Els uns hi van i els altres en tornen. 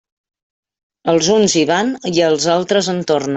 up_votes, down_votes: 1, 2